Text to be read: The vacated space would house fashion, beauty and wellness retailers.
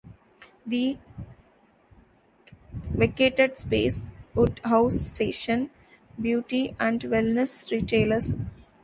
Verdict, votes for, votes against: rejected, 0, 2